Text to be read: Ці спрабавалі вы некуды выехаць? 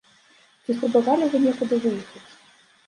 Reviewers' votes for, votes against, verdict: 0, 2, rejected